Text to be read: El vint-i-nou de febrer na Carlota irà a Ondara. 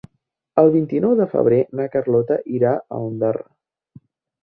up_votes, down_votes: 3, 0